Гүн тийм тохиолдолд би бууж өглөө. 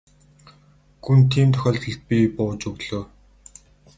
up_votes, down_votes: 4, 2